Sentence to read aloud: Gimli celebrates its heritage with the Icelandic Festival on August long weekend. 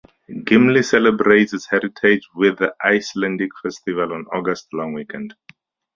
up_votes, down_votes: 8, 4